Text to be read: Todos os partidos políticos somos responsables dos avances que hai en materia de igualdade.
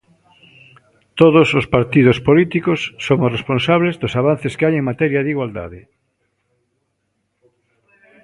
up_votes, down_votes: 2, 0